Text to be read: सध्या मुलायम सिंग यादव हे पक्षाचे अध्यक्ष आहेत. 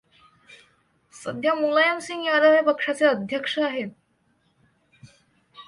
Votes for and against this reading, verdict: 2, 0, accepted